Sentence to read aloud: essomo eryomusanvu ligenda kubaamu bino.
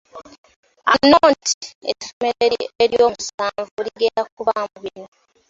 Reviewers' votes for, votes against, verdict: 0, 2, rejected